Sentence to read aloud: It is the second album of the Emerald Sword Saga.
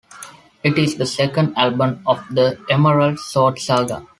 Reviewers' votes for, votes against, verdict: 3, 0, accepted